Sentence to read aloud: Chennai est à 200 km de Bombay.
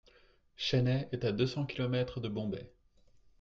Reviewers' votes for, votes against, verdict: 0, 2, rejected